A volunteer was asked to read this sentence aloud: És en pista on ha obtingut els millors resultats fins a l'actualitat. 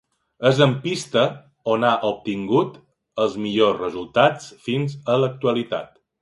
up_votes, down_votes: 2, 0